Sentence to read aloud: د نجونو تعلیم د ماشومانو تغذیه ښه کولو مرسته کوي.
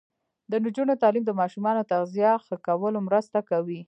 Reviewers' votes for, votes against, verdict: 1, 2, rejected